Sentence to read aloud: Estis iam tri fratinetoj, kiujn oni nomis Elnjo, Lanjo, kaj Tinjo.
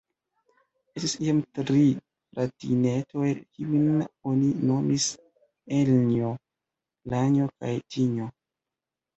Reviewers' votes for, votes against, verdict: 0, 2, rejected